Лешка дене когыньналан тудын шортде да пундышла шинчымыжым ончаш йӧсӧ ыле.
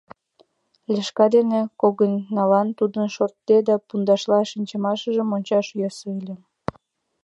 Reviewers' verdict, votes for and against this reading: accepted, 2, 1